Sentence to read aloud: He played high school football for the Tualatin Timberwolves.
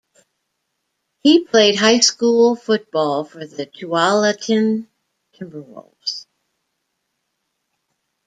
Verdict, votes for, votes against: rejected, 1, 2